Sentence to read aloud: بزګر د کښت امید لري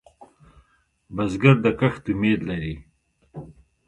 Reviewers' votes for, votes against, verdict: 2, 0, accepted